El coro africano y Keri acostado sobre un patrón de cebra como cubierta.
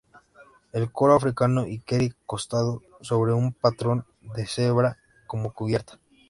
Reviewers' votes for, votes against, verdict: 0, 2, rejected